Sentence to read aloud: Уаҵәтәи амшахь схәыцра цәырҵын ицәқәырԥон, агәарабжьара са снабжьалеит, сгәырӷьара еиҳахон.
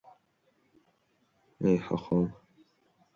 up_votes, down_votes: 0, 3